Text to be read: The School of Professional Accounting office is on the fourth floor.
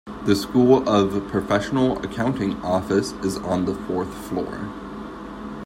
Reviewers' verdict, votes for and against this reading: accepted, 2, 1